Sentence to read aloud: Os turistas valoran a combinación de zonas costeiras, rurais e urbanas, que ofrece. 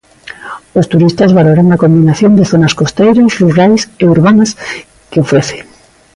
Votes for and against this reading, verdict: 2, 0, accepted